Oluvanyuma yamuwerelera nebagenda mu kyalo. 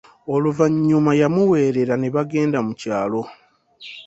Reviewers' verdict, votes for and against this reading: accepted, 2, 0